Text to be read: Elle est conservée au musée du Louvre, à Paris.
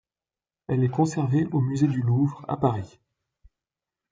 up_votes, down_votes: 2, 0